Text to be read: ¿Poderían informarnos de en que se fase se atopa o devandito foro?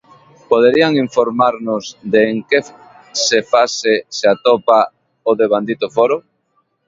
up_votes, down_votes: 0, 2